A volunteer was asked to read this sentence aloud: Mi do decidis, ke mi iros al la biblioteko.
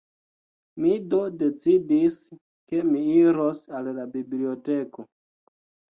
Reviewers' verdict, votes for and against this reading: accepted, 2, 0